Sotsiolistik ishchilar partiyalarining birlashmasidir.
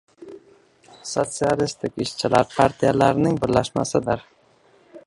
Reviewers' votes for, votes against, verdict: 1, 2, rejected